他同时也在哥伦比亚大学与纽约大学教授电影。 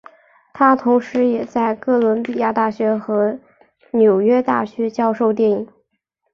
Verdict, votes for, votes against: rejected, 1, 2